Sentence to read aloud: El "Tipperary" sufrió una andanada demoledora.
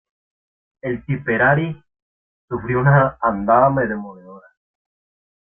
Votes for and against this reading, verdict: 0, 2, rejected